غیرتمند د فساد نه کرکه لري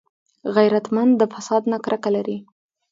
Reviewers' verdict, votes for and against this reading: rejected, 0, 2